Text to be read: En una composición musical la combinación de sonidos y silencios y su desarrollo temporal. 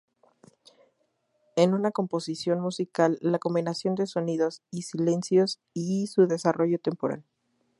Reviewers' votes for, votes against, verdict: 0, 2, rejected